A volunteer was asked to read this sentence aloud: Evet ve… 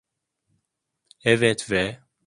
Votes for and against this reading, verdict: 2, 0, accepted